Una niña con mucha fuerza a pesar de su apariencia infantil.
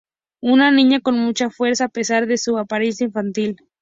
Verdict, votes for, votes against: accepted, 6, 0